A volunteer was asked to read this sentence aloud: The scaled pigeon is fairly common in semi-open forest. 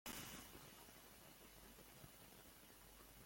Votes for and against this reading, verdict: 0, 2, rejected